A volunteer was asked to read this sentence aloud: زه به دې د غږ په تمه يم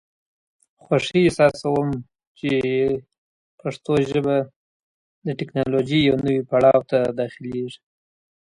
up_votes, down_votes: 0, 2